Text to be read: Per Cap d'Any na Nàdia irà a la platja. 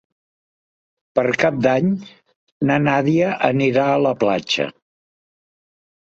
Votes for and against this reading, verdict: 1, 2, rejected